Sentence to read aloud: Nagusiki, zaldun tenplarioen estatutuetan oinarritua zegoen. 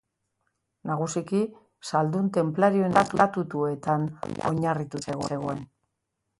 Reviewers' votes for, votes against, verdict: 0, 2, rejected